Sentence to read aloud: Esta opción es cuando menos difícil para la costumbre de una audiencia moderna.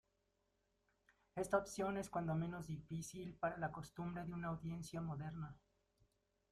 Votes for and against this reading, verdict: 2, 0, accepted